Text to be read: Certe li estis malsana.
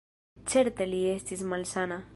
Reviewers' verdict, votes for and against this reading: rejected, 1, 2